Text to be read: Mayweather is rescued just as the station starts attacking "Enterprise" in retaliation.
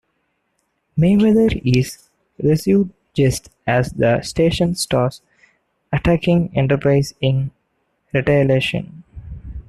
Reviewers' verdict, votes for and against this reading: rejected, 0, 2